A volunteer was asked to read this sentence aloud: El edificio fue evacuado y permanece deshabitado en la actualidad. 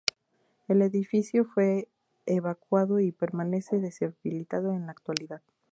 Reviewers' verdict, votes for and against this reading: rejected, 0, 2